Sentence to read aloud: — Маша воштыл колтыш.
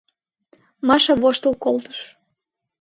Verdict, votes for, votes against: accepted, 2, 0